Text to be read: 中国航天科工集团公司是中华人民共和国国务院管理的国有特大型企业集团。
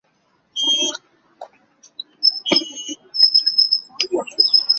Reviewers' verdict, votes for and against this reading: rejected, 0, 3